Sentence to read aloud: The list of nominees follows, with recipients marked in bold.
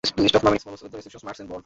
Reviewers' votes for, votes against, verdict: 0, 2, rejected